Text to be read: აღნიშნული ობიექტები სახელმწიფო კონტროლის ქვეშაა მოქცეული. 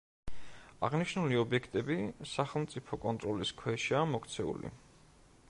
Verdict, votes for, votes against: accepted, 2, 0